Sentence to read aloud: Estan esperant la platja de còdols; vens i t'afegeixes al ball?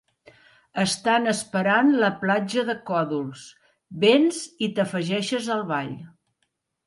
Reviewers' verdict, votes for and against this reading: accepted, 2, 1